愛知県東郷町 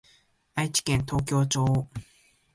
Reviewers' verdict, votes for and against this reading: rejected, 1, 2